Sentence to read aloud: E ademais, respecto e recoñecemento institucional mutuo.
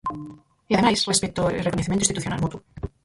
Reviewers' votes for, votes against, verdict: 0, 4, rejected